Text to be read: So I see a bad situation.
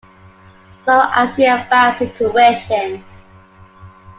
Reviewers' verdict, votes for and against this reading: accepted, 2, 0